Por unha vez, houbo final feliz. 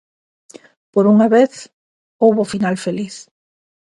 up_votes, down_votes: 2, 0